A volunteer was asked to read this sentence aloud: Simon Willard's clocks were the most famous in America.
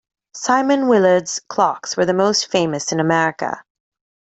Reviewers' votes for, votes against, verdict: 2, 0, accepted